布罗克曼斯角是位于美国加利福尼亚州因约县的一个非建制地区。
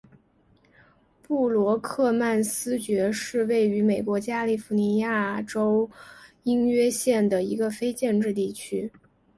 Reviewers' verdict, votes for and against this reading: accepted, 4, 0